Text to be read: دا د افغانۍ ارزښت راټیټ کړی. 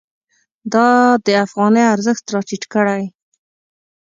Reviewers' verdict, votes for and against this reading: accepted, 2, 0